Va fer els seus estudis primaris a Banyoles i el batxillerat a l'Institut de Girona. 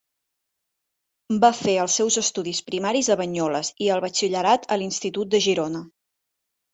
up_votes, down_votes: 3, 0